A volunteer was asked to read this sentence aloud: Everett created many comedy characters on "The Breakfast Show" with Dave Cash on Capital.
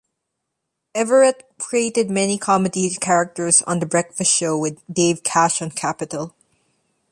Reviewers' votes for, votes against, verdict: 2, 0, accepted